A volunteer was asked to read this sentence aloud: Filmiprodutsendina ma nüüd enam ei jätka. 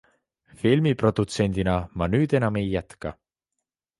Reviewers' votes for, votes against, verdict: 2, 0, accepted